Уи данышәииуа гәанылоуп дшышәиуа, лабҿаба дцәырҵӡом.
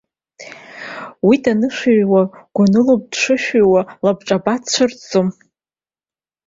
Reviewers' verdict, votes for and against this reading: accepted, 2, 0